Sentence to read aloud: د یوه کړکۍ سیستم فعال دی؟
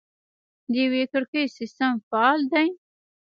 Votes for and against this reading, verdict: 1, 2, rejected